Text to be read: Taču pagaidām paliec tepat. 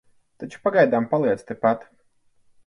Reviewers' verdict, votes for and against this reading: accepted, 4, 0